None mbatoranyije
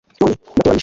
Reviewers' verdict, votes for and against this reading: rejected, 1, 2